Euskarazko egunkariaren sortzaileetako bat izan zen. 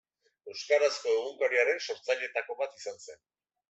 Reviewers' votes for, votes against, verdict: 2, 1, accepted